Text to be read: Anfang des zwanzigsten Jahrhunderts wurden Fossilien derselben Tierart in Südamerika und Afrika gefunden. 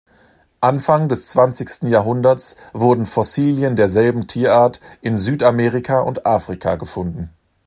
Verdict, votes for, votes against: accepted, 2, 0